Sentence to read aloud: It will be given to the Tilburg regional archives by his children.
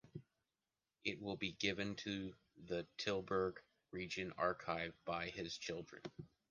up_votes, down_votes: 2, 3